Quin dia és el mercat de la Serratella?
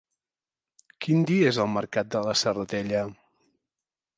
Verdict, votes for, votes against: accepted, 2, 0